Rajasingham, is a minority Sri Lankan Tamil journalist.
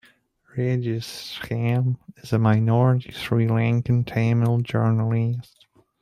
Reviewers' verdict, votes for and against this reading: rejected, 0, 3